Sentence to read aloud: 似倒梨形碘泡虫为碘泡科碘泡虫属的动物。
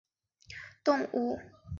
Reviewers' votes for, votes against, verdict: 0, 4, rejected